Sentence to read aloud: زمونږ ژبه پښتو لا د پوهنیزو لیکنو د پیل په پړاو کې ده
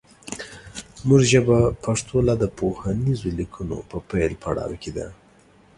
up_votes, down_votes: 1, 2